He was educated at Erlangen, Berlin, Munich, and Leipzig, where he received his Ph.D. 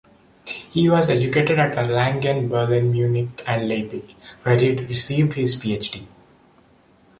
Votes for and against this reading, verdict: 1, 2, rejected